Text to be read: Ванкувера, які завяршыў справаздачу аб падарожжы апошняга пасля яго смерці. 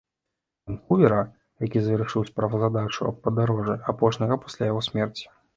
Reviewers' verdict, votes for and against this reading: rejected, 1, 2